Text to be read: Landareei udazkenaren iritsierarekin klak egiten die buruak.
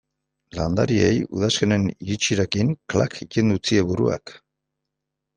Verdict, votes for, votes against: rejected, 1, 2